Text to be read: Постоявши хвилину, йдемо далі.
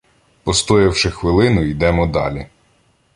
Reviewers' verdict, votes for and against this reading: accepted, 2, 0